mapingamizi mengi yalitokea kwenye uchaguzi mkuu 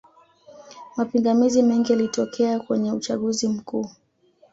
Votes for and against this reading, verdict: 2, 1, accepted